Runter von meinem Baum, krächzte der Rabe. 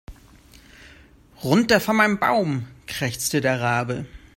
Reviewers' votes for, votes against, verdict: 2, 0, accepted